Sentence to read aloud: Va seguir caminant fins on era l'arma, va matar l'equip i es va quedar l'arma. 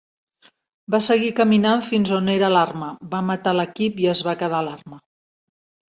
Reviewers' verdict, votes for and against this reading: accepted, 2, 0